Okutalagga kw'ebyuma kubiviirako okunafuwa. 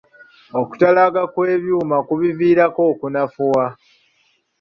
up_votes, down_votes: 1, 2